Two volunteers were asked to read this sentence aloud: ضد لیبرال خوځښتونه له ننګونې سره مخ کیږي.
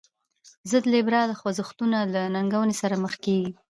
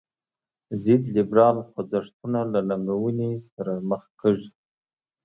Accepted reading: second